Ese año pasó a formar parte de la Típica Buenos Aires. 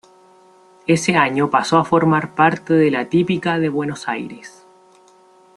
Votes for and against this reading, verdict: 1, 2, rejected